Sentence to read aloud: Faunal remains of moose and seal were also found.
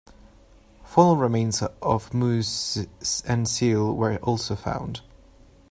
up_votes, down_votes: 2, 1